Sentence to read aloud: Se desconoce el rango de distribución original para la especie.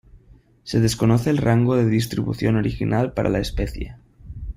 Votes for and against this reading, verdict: 2, 0, accepted